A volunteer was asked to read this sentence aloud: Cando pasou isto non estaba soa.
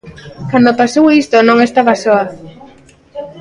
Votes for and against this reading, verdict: 0, 2, rejected